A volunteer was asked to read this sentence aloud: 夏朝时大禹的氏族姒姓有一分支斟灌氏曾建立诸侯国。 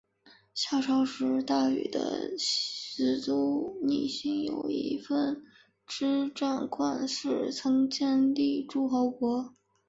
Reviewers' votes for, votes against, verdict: 3, 1, accepted